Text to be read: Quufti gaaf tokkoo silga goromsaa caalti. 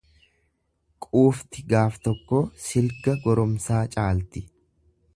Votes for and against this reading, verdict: 2, 0, accepted